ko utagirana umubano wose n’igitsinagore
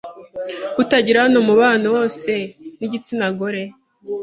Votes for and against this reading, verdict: 3, 0, accepted